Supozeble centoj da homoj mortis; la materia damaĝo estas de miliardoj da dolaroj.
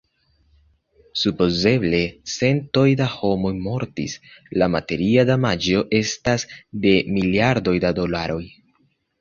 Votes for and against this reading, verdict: 2, 1, accepted